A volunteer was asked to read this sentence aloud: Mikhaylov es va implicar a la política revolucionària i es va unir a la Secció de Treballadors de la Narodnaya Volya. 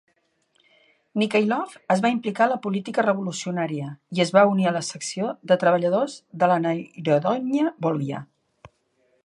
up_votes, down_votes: 1, 2